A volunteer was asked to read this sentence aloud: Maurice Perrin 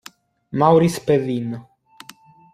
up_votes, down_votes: 2, 1